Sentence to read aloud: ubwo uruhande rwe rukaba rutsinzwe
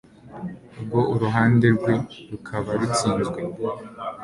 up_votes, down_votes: 2, 0